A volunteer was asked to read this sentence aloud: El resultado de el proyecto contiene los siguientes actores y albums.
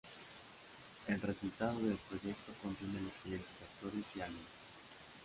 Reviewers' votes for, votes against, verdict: 2, 0, accepted